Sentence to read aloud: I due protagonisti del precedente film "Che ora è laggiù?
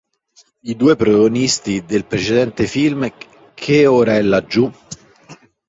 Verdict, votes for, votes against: accepted, 2, 0